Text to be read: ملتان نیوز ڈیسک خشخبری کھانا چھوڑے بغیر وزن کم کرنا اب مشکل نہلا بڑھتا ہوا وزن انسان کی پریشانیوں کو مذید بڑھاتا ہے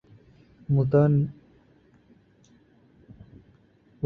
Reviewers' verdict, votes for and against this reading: rejected, 0, 2